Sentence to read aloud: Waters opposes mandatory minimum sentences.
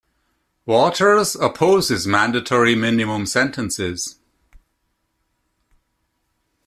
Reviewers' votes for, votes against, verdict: 2, 0, accepted